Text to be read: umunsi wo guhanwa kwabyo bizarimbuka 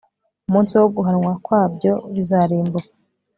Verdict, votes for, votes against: accepted, 2, 0